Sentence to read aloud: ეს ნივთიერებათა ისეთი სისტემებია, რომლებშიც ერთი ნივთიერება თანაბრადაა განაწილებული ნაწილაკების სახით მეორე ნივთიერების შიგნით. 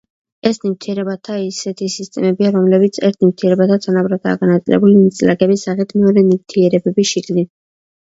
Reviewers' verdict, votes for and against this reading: rejected, 0, 2